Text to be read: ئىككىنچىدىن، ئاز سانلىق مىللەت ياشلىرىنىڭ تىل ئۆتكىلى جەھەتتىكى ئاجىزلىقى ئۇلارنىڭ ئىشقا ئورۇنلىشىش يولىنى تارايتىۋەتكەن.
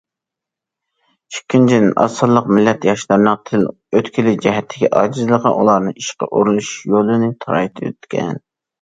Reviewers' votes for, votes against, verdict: 0, 2, rejected